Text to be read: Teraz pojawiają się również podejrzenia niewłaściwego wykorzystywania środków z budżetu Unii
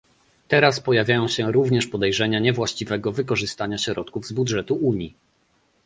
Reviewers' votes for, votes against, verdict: 1, 2, rejected